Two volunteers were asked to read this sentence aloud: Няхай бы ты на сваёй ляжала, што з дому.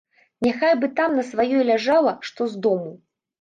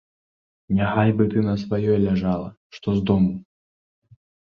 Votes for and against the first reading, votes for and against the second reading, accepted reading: 1, 2, 2, 0, second